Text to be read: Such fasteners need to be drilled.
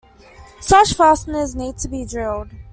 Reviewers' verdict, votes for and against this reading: accepted, 2, 0